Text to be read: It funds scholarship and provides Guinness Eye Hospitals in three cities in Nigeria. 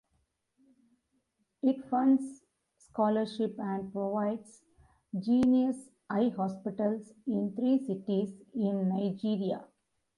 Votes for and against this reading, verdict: 1, 2, rejected